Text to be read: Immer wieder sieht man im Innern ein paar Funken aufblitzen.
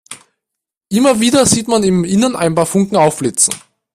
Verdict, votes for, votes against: accepted, 2, 0